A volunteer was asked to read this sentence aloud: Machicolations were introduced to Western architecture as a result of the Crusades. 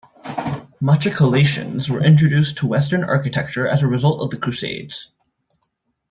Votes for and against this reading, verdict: 1, 2, rejected